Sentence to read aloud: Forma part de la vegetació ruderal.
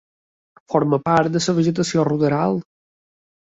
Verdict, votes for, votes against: rejected, 2, 3